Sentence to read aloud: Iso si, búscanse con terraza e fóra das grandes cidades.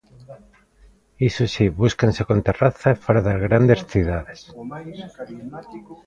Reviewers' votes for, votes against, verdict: 0, 2, rejected